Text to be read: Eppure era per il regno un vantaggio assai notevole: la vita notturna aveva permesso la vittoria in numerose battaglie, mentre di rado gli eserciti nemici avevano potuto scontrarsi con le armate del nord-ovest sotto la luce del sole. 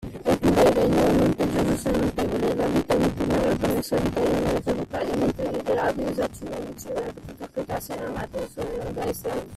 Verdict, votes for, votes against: rejected, 0, 2